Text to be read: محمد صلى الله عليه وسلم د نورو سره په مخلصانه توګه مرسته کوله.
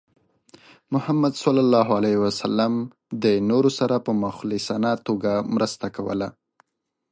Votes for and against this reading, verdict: 2, 0, accepted